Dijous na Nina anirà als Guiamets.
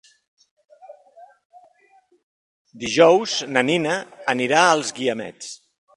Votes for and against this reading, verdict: 3, 0, accepted